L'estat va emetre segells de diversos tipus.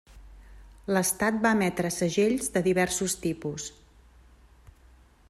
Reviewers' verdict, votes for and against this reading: accepted, 3, 0